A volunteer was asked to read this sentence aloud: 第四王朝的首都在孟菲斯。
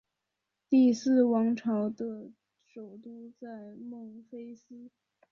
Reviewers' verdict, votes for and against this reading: accepted, 5, 0